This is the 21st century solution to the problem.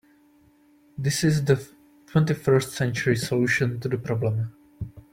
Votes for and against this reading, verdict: 0, 2, rejected